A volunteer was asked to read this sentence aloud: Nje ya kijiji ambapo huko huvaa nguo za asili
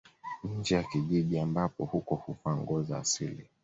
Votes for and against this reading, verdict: 2, 0, accepted